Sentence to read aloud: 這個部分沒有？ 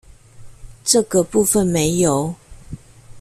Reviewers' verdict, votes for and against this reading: accepted, 2, 0